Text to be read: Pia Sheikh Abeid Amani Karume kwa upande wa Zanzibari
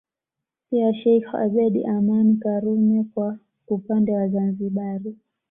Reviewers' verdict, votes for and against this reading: accepted, 2, 0